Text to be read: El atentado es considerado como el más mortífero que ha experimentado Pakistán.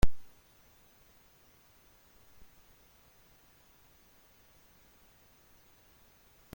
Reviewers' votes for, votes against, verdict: 0, 2, rejected